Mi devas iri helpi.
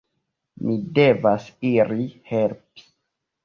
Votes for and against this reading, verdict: 2, 0, accepted